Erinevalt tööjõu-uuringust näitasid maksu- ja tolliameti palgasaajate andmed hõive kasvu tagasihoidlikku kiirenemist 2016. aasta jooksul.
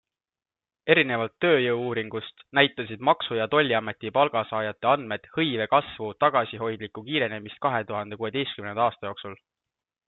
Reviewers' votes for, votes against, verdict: 0, 2, rejected